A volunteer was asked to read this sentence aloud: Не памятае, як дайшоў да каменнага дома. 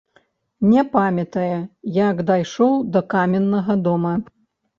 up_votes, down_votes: 1, 2